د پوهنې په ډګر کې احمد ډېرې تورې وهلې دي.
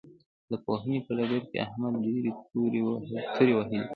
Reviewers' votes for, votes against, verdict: 1, 2, rejected